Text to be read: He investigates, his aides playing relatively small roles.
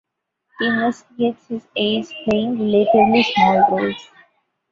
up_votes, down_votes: 1, 2